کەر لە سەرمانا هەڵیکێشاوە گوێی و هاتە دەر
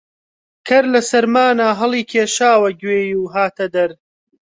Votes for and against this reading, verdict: 2, 0, accepted